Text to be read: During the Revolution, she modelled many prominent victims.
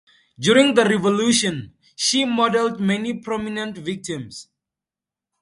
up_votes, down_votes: 2, 0